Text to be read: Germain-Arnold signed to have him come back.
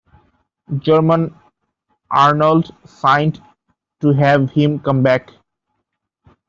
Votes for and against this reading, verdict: 1, 2, rejected